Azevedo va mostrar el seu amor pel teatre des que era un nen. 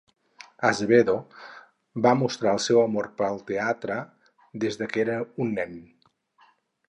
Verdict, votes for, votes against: rejected, 0, 6